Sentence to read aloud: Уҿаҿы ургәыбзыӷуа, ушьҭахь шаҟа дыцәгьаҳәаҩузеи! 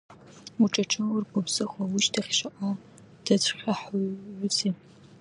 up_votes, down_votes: 0, 2